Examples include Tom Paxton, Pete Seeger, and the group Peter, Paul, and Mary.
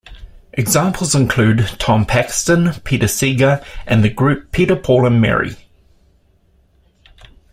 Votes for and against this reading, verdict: 0, 2, rejected